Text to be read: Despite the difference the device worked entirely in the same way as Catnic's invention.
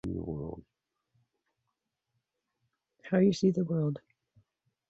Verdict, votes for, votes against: rejected, 0, 2